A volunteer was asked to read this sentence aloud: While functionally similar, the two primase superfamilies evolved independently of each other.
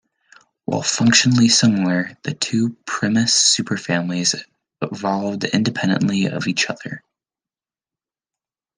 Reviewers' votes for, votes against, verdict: 1, 2, rejected